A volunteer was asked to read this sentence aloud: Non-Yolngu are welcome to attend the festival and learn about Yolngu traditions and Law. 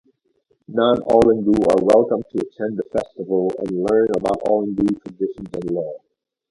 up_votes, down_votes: 2, 0